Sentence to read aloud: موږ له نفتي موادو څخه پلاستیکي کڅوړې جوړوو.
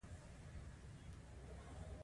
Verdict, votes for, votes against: accepted, 2, 1